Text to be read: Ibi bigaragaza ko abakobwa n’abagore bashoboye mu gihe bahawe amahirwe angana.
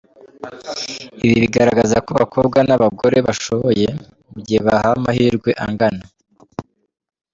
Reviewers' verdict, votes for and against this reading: accepted, 2, 1